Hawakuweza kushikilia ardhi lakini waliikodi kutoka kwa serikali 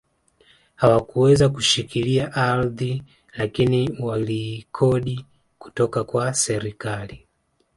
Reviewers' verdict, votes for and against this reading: accepted, 2, 0